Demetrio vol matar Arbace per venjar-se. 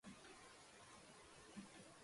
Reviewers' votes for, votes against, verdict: 0, 2, rejected